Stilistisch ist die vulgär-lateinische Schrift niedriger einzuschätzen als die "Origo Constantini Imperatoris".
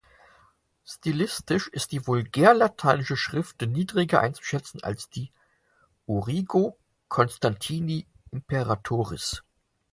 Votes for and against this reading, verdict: 4, 0, accepted